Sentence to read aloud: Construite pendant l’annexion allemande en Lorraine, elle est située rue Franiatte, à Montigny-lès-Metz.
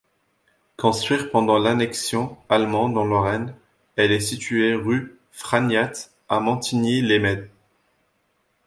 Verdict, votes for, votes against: rejected, 0, 2